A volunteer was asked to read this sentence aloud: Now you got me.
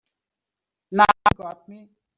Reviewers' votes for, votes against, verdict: 0, 3, rejected